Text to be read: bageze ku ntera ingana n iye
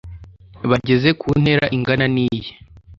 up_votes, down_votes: 2, 0